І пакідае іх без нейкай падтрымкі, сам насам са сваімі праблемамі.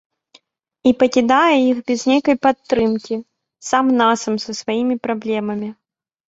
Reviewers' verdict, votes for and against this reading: accepted, 2, 0